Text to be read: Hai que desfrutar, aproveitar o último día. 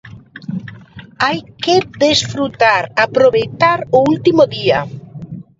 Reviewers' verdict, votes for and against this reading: accepted, 2, 1